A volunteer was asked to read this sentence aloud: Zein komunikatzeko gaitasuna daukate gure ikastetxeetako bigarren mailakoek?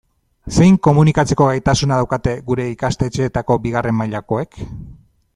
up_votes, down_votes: 2, 0